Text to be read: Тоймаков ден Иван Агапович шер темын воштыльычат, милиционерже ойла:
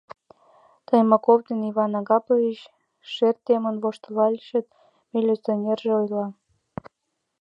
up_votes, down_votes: 1, 2